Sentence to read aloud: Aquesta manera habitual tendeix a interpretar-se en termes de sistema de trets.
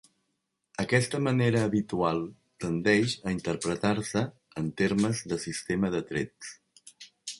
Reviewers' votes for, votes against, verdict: 3, 0, accepted